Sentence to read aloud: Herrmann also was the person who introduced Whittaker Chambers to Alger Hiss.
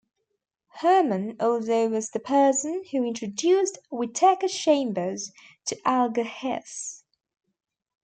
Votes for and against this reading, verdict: 2, 1, accepted